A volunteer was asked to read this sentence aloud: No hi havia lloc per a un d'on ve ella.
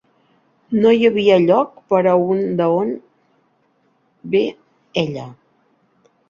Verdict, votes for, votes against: rejected, 0, 3